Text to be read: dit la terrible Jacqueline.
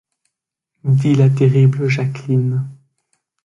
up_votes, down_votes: 2, 0